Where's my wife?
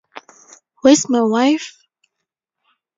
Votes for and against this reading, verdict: 4, 0, accepted